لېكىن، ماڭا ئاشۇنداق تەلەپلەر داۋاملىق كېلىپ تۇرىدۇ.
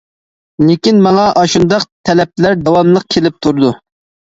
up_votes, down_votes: 2, 0